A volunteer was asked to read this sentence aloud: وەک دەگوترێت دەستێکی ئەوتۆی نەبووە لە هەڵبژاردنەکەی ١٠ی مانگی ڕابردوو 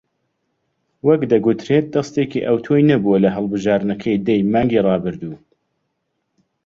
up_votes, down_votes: 0, 2